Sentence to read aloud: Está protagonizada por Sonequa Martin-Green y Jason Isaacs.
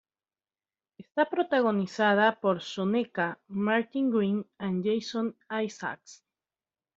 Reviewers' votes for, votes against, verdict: 2, 1, accepted